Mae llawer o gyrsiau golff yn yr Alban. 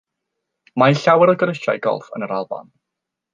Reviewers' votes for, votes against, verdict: 3, 0, accepted